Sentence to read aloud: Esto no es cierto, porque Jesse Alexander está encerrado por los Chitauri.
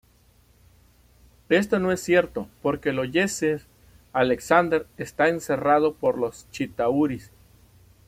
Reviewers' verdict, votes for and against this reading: rejected, 1, 2